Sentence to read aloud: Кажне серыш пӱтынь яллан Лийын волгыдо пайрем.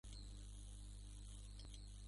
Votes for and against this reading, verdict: 0, 2, rejected